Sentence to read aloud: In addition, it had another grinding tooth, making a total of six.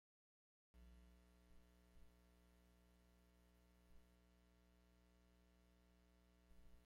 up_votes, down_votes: 1, 2